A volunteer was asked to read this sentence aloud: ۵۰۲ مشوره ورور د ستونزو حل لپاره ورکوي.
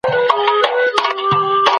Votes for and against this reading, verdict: 0, 2, rejected